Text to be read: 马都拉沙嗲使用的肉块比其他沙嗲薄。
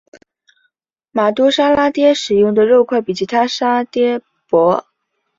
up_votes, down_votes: 1, 2